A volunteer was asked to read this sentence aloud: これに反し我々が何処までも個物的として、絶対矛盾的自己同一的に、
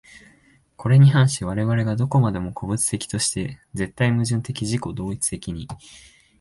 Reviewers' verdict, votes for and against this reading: accepted, 2, 0